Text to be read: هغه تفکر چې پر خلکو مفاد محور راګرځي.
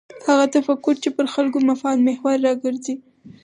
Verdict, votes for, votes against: rejected, 0, 4